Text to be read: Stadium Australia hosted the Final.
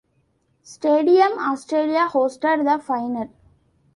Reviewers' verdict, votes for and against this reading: accepted, 2, 0